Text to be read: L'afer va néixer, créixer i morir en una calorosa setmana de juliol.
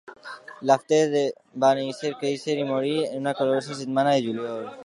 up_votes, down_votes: 0, 2